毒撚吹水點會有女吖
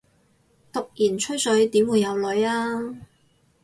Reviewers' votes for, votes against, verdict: 0, 4, rejected